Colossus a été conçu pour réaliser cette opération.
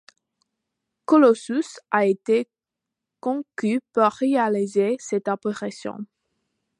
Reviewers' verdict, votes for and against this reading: rejected, 1, 2